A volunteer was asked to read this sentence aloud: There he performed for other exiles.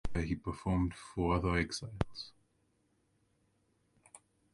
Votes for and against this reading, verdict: 0, 2, rejected